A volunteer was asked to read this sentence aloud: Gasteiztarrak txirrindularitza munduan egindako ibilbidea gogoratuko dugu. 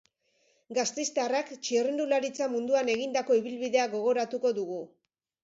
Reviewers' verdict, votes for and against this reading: accepted, 2, 0